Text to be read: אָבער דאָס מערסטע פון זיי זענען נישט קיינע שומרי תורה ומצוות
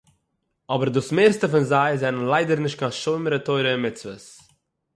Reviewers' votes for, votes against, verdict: 0, 6, rejected